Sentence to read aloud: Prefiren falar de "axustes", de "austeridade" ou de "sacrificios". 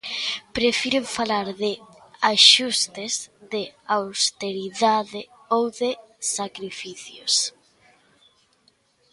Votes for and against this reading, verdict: 3, 0, accepted